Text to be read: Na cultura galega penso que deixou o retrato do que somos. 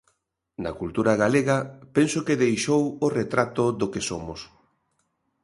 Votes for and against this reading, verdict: 2, 0, accepted